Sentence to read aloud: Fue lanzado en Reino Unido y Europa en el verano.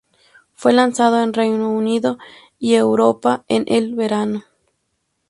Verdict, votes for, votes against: accepted, 6, 0